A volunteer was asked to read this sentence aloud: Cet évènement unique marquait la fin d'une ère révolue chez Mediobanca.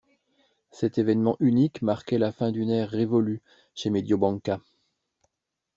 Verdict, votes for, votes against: accepted, 2, 0